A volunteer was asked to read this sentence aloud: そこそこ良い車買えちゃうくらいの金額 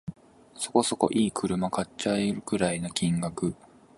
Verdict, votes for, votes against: rejected, 1, 2